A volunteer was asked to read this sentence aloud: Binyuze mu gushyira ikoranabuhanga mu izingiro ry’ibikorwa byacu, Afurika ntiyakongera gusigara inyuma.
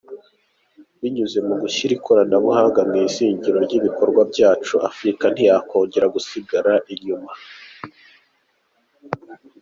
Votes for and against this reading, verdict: 2, 1, accepted